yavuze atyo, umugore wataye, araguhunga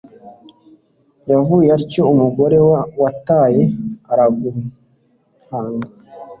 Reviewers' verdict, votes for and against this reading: rejected, 1, 2